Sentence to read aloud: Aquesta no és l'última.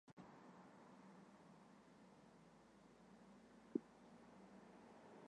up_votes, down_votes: 0, 2